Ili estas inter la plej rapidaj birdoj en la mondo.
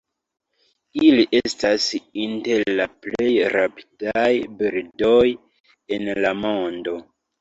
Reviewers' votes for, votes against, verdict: 1, 3, rejected